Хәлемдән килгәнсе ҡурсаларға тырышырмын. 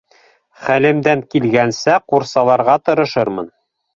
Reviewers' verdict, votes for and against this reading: accepted, 2, 0